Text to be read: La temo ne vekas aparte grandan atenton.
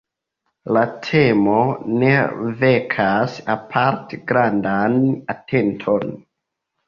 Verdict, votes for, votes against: accepted, 2, 0